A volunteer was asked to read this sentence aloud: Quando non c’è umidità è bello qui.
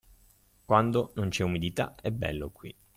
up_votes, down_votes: 2, 0